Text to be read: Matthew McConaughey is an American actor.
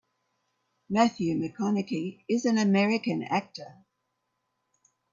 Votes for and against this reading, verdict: 1, 3, rejected